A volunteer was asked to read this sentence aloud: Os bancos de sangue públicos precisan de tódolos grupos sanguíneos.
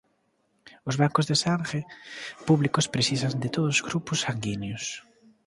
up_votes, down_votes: 0, 2